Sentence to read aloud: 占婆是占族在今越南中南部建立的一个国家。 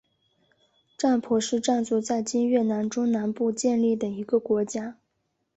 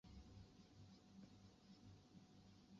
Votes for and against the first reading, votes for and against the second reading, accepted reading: 4, 0, 0, 2, first